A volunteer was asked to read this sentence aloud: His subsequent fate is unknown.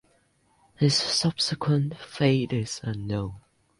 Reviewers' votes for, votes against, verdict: 2, 0, accepted